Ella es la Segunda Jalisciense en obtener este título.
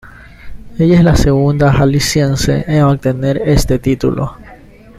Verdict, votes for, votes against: accepted, 2, 0